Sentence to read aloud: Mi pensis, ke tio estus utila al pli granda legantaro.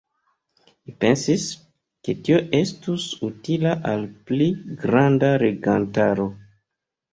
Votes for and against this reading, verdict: 2, 0, accepted